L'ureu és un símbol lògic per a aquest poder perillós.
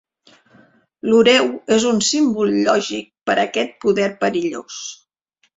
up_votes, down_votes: 3, 0